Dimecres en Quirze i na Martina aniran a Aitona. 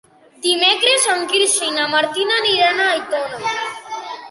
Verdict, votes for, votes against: accepted, 2, 0